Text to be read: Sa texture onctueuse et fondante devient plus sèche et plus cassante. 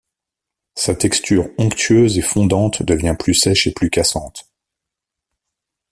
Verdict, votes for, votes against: accepted, 2, 0